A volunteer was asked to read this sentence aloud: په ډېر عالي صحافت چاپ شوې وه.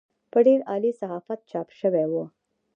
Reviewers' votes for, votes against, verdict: 1, 2, rejected